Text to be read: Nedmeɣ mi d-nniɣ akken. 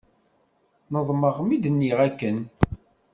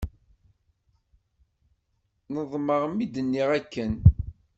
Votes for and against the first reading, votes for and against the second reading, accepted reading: 1, 2, 2, 0, second